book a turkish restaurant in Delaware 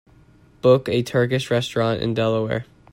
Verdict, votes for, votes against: accepted, 2, 0